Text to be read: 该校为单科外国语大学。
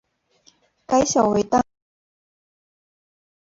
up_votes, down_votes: 0, 7